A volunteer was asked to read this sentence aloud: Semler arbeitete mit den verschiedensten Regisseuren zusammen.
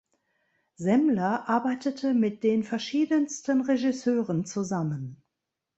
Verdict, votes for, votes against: accepted, 2, 0